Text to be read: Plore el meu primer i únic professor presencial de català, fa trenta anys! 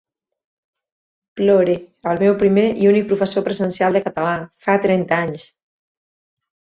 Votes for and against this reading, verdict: 4, 2, accepted